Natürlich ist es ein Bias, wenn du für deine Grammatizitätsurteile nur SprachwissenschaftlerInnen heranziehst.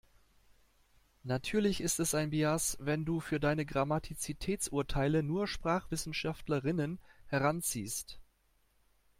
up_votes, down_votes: 0, 2